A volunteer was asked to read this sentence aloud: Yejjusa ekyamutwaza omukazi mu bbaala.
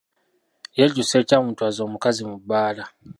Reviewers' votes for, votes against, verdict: 0, 2, rejected